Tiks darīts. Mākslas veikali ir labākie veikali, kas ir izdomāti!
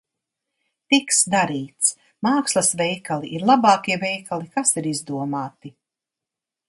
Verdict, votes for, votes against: accepted, 2, 0